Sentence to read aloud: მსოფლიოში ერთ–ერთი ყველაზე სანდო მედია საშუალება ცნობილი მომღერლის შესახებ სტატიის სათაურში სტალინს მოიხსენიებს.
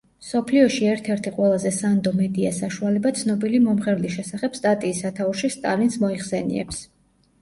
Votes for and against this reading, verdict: 2, 0, accepted